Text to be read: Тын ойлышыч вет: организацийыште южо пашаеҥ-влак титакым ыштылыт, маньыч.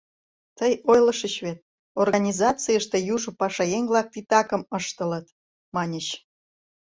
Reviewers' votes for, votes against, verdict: 0, 2, rejected